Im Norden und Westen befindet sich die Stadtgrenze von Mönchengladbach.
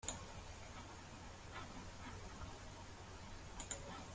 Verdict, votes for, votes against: rejected, 0, 2